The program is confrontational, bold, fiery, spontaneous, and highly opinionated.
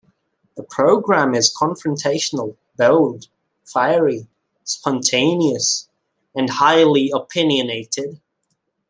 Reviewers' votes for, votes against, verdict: 2, 0, accepted